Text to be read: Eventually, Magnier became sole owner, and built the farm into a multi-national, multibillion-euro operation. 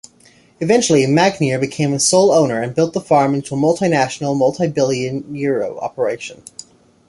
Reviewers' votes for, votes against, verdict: 1, 2, rejected